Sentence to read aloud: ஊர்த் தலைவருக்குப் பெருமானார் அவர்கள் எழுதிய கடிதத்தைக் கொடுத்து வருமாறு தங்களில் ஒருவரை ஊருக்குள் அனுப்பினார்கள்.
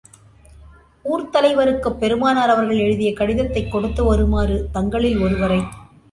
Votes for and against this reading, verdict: 0, 2, rejected